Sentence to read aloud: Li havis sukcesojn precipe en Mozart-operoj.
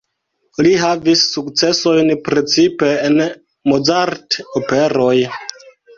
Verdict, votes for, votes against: accepted, 2, 1